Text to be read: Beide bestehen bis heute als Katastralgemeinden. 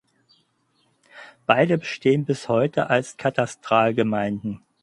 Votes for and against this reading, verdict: 4, 0, accepted